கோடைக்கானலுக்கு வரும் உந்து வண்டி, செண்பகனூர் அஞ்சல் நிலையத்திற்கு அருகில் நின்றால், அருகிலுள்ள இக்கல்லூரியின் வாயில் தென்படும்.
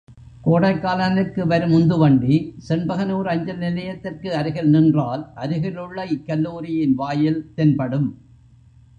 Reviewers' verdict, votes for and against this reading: accepted, 2, 0